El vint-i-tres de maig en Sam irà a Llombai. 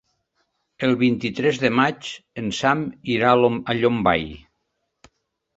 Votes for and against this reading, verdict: 0, 2, rejected